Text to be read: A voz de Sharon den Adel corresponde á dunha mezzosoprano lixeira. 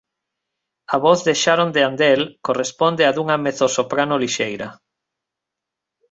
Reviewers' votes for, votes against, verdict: 1, 2, rejected